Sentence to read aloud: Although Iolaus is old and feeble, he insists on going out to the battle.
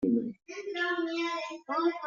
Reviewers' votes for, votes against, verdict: 0, 2, rejected